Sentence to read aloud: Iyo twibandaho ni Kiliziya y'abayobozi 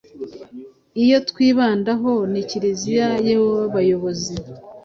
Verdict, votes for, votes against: accepted, 2, 0